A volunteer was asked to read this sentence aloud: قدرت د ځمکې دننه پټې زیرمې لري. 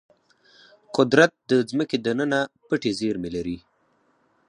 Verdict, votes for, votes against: rejected, 2, 4